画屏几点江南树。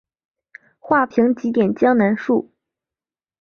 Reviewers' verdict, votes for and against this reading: accepted, 3, 0